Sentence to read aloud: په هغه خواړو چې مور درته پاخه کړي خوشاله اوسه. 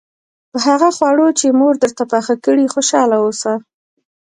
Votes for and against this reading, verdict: 2, 0, accepted